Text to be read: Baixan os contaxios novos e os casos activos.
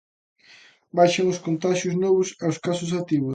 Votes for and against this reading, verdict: 2, 0, accepted